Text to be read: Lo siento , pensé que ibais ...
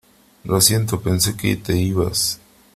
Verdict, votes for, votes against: rejected, 0, 2